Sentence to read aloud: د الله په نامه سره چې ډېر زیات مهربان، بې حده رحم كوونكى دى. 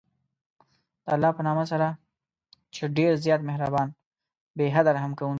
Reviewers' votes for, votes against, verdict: 0, 2, rejected